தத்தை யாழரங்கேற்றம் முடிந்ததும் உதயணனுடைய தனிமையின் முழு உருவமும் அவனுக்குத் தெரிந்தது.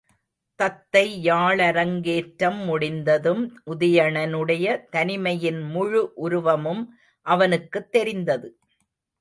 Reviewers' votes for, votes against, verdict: 1, 2, rejected